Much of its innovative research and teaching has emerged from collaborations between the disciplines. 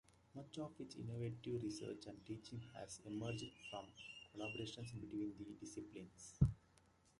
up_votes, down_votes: 1, 2